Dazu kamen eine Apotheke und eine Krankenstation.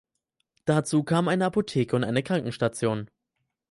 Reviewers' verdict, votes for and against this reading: rejected, 2, 4